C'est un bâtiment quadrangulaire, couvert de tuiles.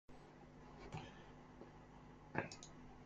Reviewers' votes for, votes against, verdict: 0, 2, rejected